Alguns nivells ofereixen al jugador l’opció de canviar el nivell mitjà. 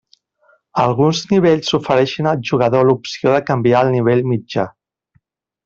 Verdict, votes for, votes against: accepted, 2, 0